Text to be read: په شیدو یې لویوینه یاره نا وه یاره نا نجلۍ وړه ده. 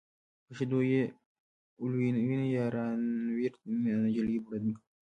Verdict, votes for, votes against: rejected, 1, 2